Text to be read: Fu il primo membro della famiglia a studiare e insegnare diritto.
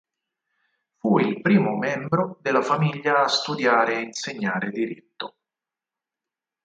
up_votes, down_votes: 2, 4